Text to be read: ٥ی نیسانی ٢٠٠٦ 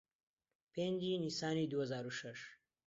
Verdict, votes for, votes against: rejected, 0, 2